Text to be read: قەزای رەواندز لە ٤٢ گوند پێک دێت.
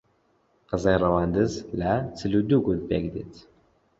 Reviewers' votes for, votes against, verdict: 0, 2, rejected